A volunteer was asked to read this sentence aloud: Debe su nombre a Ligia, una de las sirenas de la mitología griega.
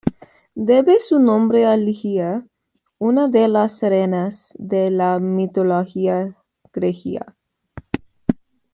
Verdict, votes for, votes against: rejected, 1, 2